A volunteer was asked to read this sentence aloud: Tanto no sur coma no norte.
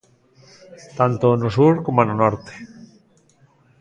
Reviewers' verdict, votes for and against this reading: accepted, 2, 0